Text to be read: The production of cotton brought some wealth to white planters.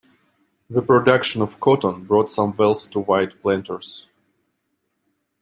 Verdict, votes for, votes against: accepted, 2, 0